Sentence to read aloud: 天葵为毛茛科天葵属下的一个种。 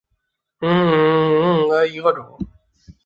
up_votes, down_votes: 0, 3